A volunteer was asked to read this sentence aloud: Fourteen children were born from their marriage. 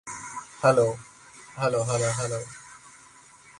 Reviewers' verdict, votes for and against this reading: rejected, 0, 2